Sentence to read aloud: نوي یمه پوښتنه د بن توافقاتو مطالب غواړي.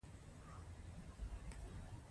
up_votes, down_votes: 1, 2